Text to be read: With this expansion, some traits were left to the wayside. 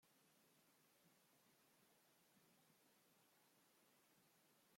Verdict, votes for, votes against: rejected, 0, 2